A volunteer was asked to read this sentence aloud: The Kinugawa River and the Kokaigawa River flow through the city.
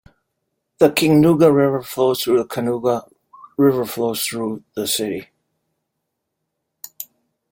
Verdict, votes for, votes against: rejected, 0, 2